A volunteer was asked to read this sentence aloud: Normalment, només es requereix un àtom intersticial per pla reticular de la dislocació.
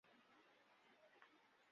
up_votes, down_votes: 0, 3